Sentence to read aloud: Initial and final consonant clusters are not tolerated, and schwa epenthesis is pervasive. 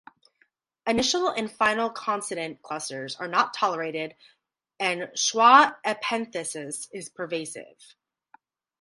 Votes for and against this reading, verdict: 2, 2, rejected